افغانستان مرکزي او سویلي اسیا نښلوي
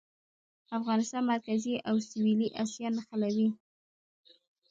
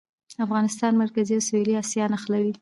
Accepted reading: second